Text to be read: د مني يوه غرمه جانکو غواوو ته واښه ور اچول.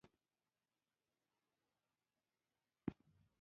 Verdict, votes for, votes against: rejected, 1, 2